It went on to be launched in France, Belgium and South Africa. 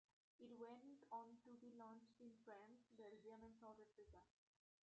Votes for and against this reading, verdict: 1, 2, rejected